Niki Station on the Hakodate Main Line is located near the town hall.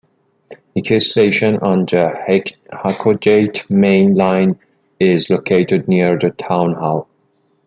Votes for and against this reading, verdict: 1, 2, rejected